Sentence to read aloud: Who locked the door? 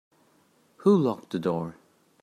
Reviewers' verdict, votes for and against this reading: accepted, 2, 0